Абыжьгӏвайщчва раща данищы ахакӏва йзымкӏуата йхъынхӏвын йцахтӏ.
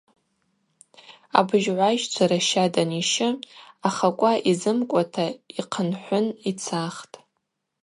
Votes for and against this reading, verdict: 2, 2, rejected